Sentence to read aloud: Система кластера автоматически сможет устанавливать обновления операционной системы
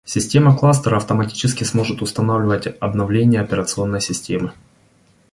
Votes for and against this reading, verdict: 2, 0, accepted